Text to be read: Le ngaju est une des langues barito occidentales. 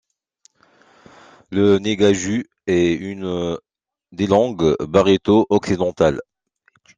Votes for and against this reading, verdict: 2, 0, accepted